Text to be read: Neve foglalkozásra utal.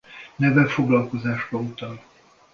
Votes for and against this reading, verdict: 2, 0, accepted